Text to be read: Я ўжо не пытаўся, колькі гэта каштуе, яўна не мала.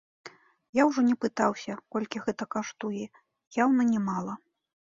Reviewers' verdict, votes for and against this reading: accepted, 2, 1